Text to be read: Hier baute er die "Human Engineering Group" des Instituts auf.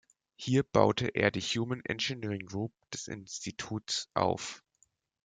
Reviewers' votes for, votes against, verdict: 2, 0, accepted